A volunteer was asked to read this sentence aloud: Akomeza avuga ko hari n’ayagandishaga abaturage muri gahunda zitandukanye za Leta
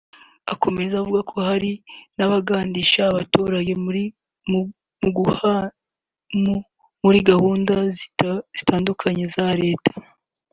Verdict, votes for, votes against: rejected, 0, 2